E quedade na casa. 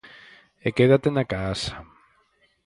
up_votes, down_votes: 0, 4